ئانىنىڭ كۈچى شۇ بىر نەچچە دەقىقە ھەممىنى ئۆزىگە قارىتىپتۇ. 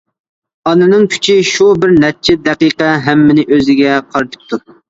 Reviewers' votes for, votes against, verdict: 2, 0, accepted